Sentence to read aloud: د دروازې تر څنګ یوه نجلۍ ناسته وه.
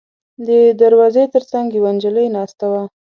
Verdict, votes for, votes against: accepted, 2, 0